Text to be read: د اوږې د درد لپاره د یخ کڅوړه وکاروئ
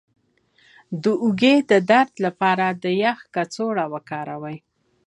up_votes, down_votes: 2, 0